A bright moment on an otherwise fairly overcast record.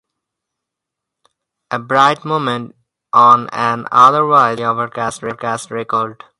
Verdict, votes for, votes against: rejected, 0, 4